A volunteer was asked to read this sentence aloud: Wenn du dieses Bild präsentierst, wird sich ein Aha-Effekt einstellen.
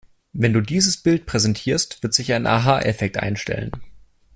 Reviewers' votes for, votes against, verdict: 2, 0, accepted